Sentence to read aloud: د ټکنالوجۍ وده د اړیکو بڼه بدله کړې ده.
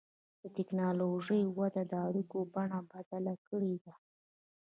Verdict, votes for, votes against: rejected, 1, 2